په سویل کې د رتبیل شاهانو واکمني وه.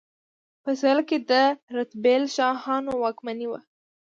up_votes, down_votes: 2, 0